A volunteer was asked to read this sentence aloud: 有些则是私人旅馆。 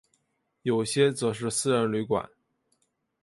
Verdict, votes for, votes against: accepted, 4, 0